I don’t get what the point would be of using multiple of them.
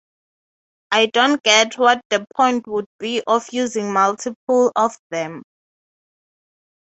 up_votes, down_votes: 6, 0